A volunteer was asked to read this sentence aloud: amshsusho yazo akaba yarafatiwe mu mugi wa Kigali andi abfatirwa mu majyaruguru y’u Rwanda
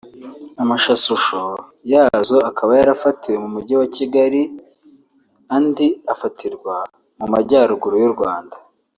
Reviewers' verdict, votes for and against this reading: accepted, 2, 1